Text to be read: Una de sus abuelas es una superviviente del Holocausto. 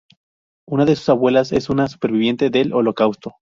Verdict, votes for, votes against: accepted, 2, 0